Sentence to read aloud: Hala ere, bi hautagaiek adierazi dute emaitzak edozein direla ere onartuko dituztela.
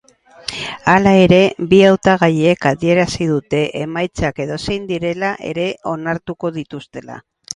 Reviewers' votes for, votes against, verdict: 4, 0, accepted